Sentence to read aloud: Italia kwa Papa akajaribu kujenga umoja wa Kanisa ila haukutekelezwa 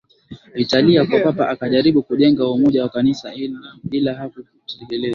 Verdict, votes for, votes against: accepted, 2, 0